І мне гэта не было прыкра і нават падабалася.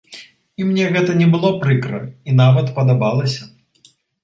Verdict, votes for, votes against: accepted, 3, 0